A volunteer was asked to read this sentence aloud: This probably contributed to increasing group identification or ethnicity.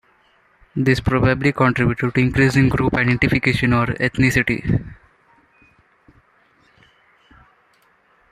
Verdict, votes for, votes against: rejected, 0, 2